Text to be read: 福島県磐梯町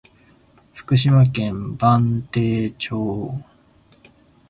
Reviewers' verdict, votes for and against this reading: accepted, 2, 1